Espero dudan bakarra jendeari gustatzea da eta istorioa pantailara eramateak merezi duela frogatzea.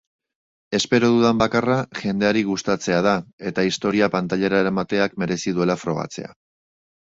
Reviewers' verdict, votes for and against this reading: rejected, 1, 2